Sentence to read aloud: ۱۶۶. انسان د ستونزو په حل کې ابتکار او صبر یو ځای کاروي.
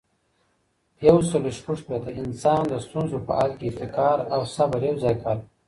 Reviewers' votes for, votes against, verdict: 0, 2, rejected